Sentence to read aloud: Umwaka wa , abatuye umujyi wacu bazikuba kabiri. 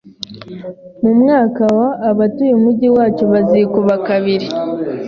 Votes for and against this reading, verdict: 2, 0, accepted